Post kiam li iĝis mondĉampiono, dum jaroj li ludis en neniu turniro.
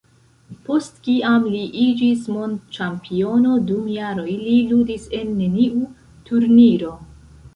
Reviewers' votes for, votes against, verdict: 1, 2, rejected